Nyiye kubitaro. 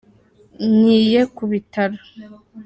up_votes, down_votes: 3, 0